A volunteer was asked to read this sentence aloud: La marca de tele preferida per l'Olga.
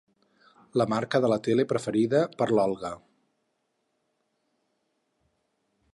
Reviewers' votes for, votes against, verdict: 2, 6, rejected